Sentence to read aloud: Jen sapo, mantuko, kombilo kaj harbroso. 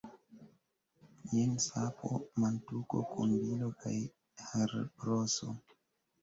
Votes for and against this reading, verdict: 2, 1, accepted